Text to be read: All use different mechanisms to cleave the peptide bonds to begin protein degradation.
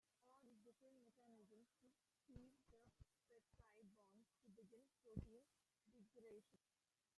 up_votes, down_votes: 0, 2